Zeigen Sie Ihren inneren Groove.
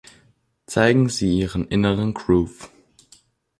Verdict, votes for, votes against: accepted, 2, 0